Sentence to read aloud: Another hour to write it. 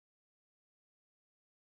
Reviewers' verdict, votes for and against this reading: rejected, 0, 2